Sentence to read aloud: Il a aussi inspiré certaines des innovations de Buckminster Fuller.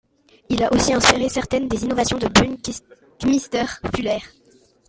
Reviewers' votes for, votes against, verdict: 1, 2, rejected